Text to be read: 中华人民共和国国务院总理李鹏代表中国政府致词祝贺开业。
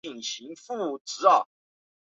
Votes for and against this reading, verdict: 0, 2, rejected